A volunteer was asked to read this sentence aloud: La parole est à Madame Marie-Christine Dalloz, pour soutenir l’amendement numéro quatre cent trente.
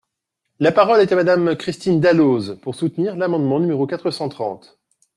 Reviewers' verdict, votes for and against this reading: rejected, 1, 2